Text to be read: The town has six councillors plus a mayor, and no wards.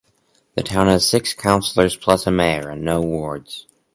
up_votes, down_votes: 4, 0